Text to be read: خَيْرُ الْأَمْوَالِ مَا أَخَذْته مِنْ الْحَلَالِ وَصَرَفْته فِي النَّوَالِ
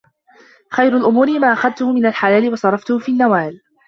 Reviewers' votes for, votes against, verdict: 1, 2, rejected